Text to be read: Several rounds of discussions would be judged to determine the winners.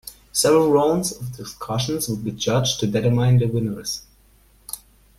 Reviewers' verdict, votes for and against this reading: rejected, 1, 2